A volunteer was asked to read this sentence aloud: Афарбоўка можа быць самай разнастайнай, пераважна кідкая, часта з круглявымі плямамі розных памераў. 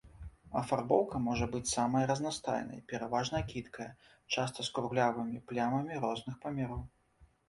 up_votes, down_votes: 3, 0